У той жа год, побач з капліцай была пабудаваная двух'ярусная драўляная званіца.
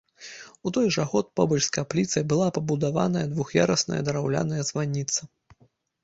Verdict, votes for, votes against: accepted, 2, 0